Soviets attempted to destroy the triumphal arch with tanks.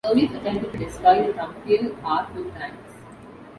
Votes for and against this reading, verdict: 0, 2, rejected